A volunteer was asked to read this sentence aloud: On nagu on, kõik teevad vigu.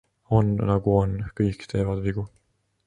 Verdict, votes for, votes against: accepted, 2, 0